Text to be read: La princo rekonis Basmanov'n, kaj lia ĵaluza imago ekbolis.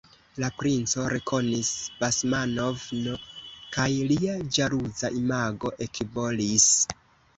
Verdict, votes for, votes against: rejected, 1, 2